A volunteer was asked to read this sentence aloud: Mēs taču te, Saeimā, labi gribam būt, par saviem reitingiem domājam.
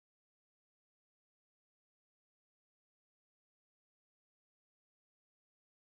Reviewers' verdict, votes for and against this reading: rejected, 0, 2